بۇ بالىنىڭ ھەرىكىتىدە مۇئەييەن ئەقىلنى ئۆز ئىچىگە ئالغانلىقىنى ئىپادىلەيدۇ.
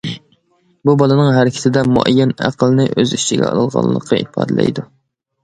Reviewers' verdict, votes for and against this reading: rejected, 0, 2